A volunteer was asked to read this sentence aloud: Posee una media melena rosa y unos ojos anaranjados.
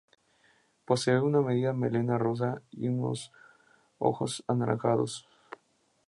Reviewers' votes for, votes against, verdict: 0, 4, rejected